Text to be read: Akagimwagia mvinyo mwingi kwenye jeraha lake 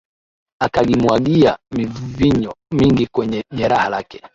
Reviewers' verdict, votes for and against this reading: accepted, 2, 0